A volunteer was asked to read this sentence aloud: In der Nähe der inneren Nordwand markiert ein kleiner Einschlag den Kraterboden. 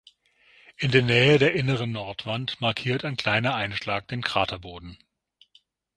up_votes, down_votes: 6, 0